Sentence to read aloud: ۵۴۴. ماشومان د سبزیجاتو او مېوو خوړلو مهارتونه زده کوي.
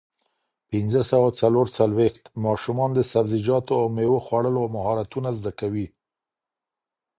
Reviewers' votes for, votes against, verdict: 0, 2, rejected